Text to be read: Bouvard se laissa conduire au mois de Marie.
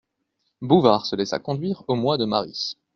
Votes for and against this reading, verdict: 2, 0, accepted